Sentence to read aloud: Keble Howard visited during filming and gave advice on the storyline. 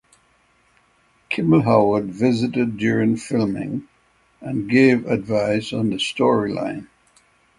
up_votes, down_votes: 6, 0